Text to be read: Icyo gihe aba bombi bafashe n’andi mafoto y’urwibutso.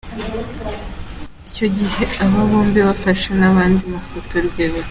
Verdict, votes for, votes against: rejected, 0, 2